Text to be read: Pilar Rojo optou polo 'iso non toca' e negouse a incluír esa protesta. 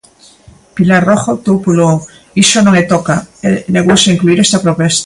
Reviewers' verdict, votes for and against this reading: rejected, 0, 2